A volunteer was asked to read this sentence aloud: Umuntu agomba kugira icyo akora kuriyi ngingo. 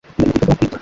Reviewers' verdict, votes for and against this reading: rejected, 2, 3